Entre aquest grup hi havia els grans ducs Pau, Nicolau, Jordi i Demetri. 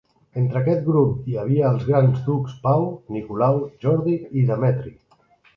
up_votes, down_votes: 3, 0